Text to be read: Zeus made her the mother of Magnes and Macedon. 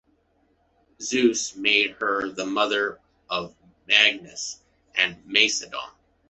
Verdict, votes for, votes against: accepted, 2, 0